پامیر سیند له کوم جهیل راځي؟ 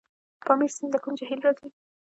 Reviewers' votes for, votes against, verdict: 1, 2, rejected